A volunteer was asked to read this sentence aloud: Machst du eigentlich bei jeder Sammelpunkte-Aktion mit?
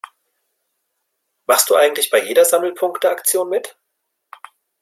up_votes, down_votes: 2, 0